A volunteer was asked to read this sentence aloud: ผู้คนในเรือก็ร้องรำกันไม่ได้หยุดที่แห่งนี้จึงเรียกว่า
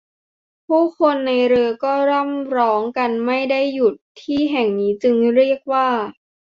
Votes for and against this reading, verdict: 0, 2, rejected